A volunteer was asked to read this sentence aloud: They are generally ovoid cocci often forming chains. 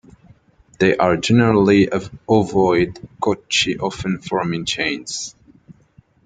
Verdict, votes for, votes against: rejected, 0, 2